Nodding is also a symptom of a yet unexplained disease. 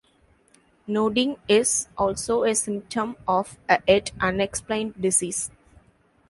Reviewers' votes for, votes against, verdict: 1, 2, rejected